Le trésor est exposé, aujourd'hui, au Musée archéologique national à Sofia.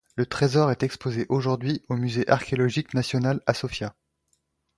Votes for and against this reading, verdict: 2, 0, accepted